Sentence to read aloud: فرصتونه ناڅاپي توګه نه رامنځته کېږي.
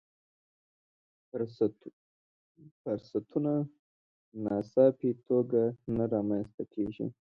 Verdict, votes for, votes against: accepted, 2, 0